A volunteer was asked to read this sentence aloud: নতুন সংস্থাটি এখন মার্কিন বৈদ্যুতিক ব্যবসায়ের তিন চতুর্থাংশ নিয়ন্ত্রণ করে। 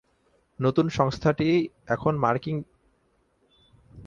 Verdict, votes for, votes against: rejected, 0, 7